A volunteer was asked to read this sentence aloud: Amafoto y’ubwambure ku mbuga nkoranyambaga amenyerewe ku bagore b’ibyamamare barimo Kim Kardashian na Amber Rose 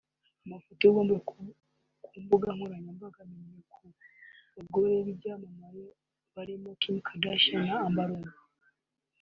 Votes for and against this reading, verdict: 0, 2, rejected